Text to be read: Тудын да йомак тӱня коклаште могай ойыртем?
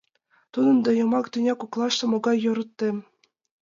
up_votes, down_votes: 1, 2